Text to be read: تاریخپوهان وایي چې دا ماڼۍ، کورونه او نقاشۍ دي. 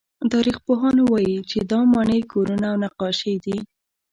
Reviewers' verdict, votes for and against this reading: accepted, 2, 0